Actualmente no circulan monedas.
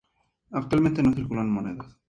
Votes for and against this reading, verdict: 2, 0, accepted